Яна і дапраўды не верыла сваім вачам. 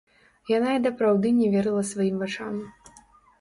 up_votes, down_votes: 1, 2